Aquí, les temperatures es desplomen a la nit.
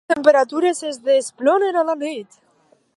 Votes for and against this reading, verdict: 0, 2, rejected